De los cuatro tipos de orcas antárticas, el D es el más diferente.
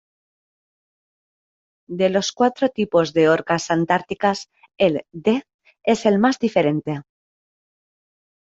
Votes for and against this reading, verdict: 3, 0, accepted